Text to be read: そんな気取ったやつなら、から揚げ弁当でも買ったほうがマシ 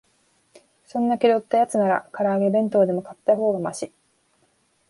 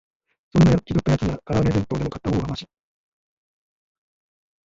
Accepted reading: first